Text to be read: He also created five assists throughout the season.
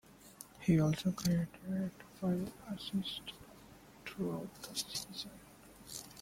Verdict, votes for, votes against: rejected, 0, 2